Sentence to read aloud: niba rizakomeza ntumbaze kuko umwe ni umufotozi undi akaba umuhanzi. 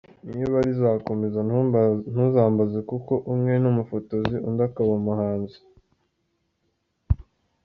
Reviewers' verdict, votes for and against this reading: rejected, 0, 2